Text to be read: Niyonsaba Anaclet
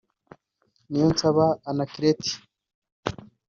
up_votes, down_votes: 2, 1